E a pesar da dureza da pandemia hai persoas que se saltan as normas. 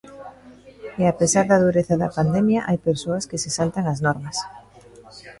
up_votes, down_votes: 1, 2